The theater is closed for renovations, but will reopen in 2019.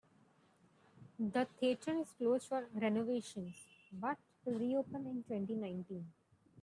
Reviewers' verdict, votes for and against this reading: rejected, 0, 2